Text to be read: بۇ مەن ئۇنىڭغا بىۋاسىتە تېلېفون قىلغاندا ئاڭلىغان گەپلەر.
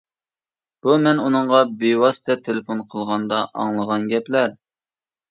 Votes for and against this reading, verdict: 2, 0, accepted